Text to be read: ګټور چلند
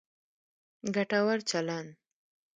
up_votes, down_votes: 0, 2